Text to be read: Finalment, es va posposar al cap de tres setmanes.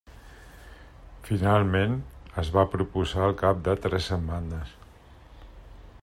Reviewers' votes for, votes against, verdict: 1, 2, rejected